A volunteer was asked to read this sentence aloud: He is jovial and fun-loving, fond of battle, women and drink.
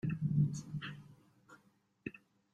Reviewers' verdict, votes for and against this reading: rejected, 0, 2